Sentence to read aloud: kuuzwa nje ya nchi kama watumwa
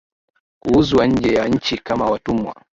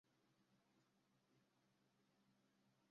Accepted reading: first